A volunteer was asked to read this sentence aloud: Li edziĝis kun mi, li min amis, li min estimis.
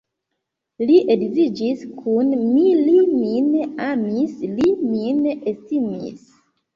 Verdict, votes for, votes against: accepted, 2, 0